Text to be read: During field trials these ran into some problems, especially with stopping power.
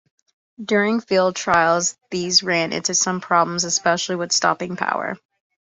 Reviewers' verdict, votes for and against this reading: accepted, 2, 0